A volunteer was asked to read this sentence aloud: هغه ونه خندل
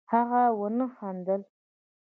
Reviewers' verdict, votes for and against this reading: accepted, 2, 1